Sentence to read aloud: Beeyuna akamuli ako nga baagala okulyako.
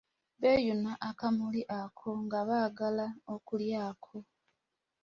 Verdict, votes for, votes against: accepted, 2, 0